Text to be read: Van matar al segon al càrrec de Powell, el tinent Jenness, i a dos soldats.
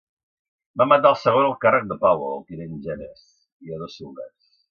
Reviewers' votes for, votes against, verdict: 2, 0, accepted